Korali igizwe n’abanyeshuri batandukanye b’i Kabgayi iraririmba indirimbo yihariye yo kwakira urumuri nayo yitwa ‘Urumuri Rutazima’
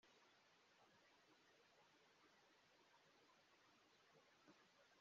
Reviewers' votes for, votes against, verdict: 0, 2, rejected